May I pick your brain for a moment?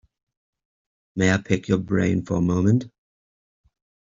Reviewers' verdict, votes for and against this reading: accepted, 2, 0